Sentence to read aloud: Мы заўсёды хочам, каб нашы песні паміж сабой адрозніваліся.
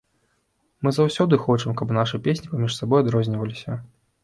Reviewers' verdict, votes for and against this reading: accepted, 2, 0